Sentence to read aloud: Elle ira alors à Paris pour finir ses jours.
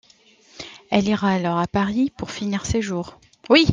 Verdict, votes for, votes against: rejected, 1, 2